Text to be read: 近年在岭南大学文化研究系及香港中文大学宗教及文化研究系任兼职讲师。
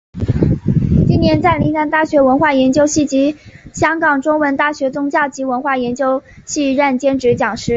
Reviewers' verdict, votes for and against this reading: accepted, 4, 2